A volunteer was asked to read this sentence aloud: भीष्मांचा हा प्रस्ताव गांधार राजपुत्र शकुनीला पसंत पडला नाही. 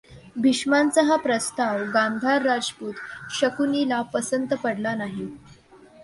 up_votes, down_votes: 2, 0